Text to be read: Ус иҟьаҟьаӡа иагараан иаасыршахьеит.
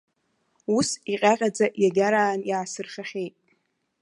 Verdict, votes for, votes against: rejected, 1, 2